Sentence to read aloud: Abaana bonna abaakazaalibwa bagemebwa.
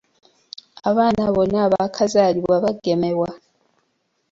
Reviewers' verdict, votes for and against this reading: rejected, 0, 2